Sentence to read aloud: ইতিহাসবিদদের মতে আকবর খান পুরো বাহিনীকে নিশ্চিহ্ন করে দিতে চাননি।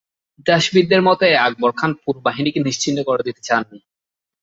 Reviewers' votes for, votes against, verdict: 0, 2, rejected